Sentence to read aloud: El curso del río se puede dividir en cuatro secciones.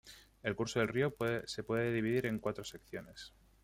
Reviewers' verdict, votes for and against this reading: accepted, 2, 1